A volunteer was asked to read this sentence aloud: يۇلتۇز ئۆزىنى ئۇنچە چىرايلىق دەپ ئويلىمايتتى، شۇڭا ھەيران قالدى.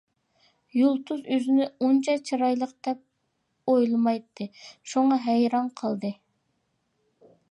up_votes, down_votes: 2, 0